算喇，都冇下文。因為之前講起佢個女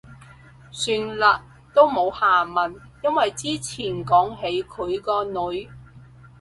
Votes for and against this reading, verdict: 4, 0, accepted